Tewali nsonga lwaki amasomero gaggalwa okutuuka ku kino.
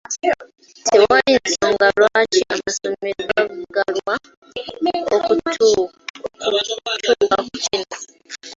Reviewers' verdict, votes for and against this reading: rejected, 1, 2